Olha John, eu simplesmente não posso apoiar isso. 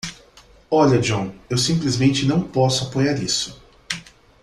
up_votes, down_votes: 2, 0